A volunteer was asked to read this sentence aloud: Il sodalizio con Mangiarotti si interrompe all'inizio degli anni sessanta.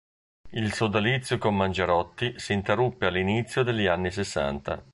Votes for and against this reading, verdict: 0, 2, rejected